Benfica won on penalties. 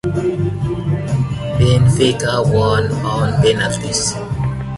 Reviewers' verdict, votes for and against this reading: accepted, 2, 0